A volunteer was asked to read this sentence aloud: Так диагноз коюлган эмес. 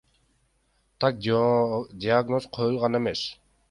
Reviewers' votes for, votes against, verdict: 0, 2, rejected